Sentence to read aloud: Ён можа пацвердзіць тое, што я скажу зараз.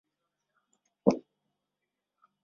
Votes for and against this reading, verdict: 0, 2, rejected